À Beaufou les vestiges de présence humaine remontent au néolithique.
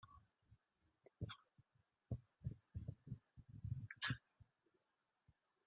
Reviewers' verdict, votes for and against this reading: rejected, 0, 2